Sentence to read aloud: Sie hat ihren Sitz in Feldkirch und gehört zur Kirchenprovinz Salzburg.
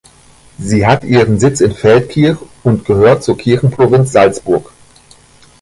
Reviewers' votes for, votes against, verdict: 2, 0, accepted